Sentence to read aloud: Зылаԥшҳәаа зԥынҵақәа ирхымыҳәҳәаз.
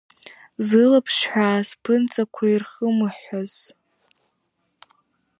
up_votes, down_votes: 2, 0